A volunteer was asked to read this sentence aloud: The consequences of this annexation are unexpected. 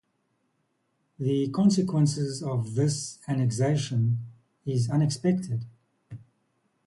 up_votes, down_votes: 0, 2